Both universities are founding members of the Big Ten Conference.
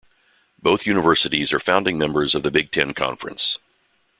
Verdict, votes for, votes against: accepted, 2, 0